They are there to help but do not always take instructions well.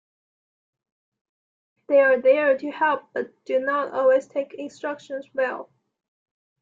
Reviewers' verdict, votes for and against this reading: rejected, 1, 2